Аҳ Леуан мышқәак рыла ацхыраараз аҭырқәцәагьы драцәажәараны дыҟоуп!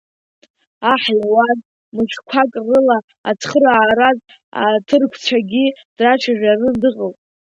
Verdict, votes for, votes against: rejected, 0, 2